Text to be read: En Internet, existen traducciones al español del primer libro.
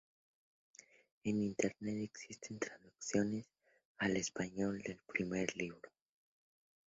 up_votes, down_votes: 0, 4